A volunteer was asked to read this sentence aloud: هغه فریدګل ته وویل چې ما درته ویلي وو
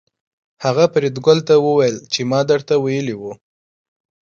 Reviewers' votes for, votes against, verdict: 2, 0, accepted